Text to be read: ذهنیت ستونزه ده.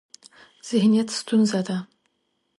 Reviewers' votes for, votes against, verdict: 2, 0, accepted